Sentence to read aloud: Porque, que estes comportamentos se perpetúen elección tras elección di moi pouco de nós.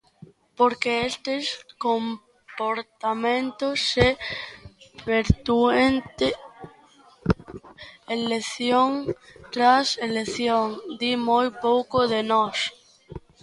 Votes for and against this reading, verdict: 0, 2, rejected